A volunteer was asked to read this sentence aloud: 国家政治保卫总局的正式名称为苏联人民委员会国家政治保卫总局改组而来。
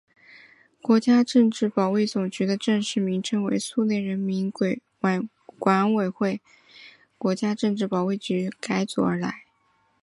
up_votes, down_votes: 0, 2